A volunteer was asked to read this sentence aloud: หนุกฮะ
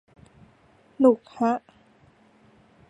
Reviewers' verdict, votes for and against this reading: accepted, 2, 0